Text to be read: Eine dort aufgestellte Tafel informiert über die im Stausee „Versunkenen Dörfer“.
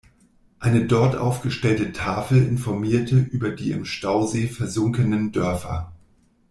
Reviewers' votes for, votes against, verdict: 1, 2, rejected